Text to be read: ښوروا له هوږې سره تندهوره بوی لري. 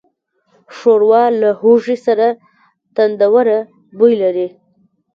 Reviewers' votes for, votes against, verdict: 0, 2, rejected